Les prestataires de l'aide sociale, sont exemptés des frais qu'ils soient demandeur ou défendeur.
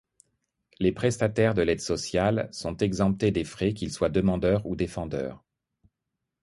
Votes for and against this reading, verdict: 2, 0, accepted